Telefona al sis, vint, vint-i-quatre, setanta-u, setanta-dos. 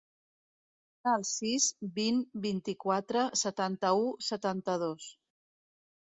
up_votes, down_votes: 1, 2